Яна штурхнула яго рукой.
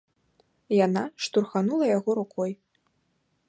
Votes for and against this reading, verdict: 1, 2, rejected